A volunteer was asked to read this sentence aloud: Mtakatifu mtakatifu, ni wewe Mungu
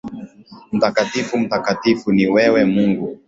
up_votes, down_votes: 9, 2